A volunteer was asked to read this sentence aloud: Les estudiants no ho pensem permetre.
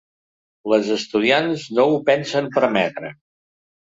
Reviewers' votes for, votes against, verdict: 1, 2, rejected